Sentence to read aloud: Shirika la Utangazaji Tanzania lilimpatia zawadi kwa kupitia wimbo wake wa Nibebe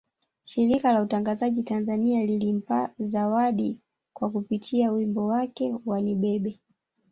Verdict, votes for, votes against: rejected, 1, 2